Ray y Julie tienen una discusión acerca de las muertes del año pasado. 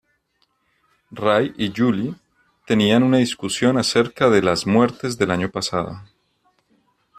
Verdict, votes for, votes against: accepted, 2, 1